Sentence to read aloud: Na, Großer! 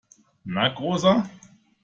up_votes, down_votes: 2, 0